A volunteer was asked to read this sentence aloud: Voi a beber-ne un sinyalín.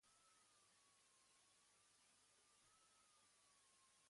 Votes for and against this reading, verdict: 1, 2, rejected